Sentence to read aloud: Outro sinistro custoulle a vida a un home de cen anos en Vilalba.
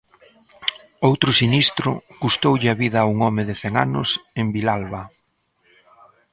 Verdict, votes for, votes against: accepted, 2, 0